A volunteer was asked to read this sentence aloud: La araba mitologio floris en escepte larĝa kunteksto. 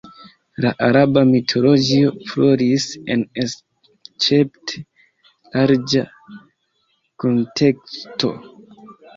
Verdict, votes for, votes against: rejected, 0, 3